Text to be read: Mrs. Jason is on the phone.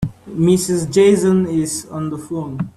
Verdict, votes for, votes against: accepted, 2, 0